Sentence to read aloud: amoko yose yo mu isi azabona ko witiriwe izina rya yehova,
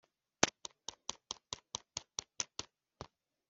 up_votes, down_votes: 0, 2